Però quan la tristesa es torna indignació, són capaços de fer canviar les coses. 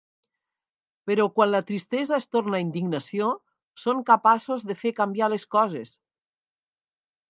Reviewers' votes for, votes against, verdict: 2, 0, accepted